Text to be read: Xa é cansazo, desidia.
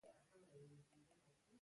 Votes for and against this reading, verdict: 0, 2, rejected